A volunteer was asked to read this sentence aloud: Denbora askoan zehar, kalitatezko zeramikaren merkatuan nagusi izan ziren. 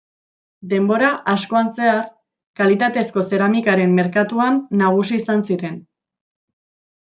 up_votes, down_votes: 2, 0